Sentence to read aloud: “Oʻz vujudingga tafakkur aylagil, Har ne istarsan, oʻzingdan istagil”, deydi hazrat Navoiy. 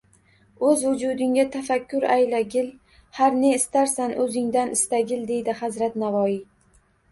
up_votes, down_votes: 2, 0